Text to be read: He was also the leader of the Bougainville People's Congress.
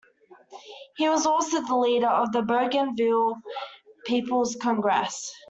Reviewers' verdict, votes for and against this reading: rejected, 1, 2